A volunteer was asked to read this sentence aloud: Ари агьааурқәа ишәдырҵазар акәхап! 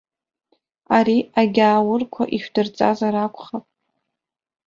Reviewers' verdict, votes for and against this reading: accepted, 2, 0